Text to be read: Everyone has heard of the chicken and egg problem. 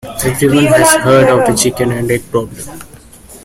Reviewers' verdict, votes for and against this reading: rejected, 1, 2